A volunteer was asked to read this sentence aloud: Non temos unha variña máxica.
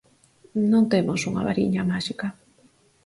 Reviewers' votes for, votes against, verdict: 8, 0, accepted